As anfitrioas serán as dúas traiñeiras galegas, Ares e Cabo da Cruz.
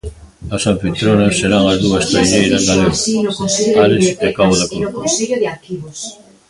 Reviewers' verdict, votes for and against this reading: rejected, 0, 2